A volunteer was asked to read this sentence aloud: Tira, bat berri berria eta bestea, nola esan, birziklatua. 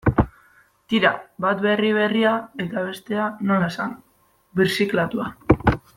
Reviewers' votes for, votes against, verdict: 1, 2, rejected